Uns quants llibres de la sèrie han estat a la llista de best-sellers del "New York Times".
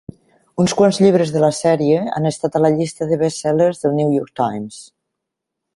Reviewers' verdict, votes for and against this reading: accepted, 3, 0